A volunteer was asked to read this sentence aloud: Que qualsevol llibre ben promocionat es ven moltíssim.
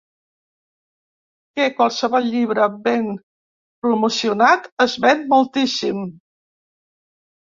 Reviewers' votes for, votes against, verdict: 0, 2, rejected